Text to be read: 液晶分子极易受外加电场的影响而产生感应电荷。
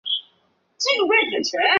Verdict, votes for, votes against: rejected, 0, 4